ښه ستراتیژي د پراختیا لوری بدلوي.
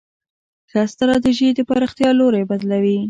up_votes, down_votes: 2, 0